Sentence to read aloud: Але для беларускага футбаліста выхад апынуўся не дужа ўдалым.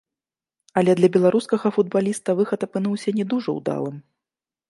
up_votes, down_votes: 1, 2